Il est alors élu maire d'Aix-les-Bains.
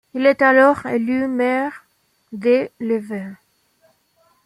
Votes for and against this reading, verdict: 0, 2, rejected